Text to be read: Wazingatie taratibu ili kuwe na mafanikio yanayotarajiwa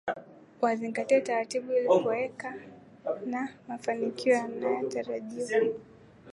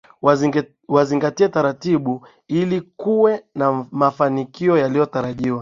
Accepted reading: first